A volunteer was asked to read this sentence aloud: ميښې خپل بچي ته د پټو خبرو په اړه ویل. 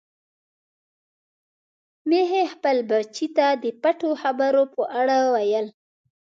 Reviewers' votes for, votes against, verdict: 2, 0, accepted